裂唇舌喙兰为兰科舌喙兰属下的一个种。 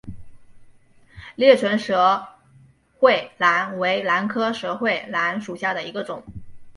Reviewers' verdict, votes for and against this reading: accepted, 2, 0